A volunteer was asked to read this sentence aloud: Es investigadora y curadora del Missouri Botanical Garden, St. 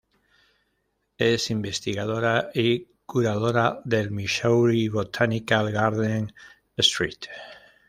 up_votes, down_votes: 1, 2